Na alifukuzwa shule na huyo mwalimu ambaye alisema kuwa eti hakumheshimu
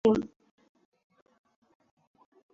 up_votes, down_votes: 0, 2